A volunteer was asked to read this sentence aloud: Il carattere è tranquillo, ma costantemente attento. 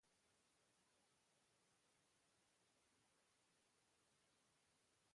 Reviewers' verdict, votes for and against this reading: rejected, 0, 2